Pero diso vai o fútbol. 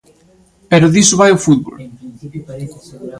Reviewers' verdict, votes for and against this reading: accepted, 2, 0